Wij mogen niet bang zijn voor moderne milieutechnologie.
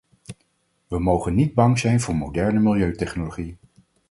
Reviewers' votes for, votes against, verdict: 4, 2, accepted